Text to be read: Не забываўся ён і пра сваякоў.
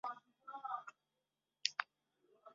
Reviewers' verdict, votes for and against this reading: rejected, 0, 2